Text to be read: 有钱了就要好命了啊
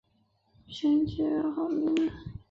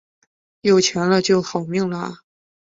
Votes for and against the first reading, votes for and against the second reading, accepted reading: 1, 2, 5, 0, second